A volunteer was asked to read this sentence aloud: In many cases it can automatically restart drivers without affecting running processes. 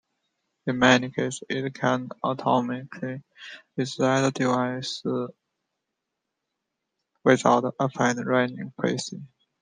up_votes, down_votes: 0, 2